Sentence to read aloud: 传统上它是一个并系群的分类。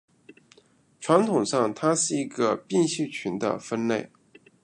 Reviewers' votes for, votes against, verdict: 1, 2, rejected